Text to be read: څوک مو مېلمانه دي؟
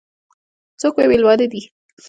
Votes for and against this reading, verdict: 2, 0, accepted